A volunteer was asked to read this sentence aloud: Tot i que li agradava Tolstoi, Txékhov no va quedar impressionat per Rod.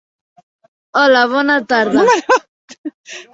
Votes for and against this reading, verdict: 0, 2, rejected